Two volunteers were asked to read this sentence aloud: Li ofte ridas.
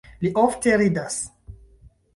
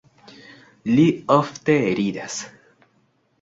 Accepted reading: second